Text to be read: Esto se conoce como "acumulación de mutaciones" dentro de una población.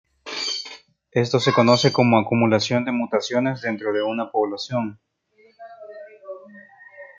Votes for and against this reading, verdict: 0, 2, rejected